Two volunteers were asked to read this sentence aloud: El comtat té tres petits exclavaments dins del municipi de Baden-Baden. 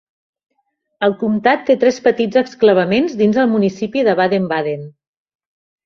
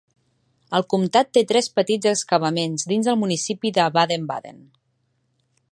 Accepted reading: first